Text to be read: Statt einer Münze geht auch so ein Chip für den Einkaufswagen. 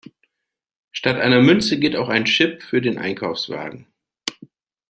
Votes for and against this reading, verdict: 0, 2, rejected